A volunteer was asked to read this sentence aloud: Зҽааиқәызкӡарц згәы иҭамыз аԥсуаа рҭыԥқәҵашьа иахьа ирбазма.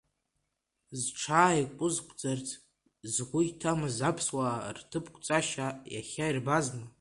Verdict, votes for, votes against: rejected, 1, 2